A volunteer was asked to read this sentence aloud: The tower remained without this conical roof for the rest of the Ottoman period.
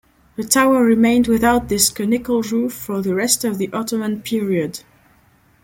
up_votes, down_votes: 2, 0